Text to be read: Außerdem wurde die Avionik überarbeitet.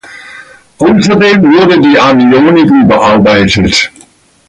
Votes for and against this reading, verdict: 1, 2, rejected